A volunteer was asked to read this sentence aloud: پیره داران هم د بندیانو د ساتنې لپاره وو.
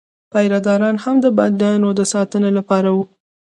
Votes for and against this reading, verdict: 1, 2, rejected